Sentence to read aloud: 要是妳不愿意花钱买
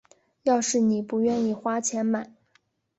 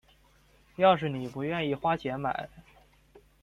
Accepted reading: first